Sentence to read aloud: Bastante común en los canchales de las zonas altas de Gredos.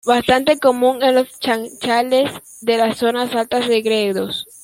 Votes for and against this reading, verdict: 0, 2, rejected